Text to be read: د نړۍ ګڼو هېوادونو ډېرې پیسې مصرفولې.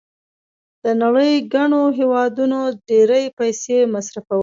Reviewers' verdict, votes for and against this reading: accepted, 2, 0